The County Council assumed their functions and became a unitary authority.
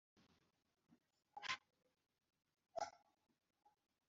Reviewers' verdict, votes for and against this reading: rejected, 0, 2